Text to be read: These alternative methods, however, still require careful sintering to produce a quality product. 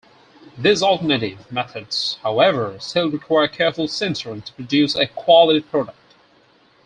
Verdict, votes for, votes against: accepted, 4, 0